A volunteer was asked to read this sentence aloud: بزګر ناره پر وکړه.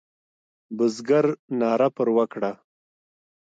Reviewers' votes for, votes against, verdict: 1, 2, rejected